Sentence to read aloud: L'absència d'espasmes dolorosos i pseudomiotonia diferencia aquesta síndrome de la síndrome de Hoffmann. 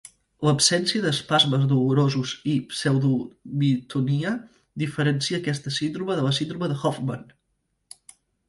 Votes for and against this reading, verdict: 0, 2, rejected